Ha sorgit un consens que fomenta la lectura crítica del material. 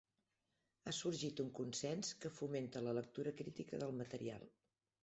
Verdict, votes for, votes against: accepted, 2, 0